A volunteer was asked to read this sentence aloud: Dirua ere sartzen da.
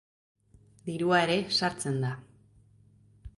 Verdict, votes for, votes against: accepted, 2, 0